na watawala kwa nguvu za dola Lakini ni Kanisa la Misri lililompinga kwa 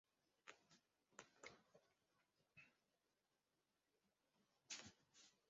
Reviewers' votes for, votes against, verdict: 0, 2, rejected